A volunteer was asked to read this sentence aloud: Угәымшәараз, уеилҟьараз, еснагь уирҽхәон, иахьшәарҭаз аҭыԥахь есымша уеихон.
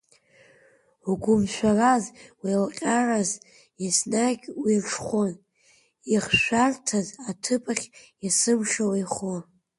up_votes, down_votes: 2, 1